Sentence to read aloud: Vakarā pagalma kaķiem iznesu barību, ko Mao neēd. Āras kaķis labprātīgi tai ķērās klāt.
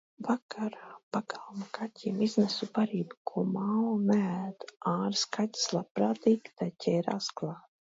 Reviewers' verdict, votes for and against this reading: accepted, 2, 0